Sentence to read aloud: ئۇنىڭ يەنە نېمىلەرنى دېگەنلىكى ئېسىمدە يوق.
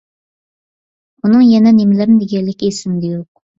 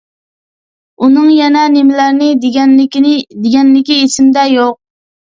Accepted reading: first